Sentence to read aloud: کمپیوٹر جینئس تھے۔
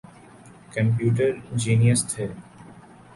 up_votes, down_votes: 3, 0